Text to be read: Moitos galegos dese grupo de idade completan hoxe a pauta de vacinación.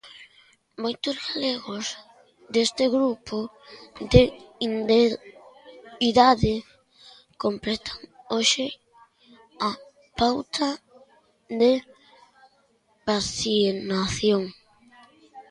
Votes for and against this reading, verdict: 0, 2, rejected